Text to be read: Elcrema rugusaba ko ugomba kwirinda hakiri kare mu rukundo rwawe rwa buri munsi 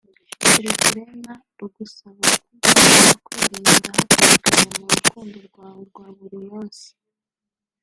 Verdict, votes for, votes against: rejected, 0, 2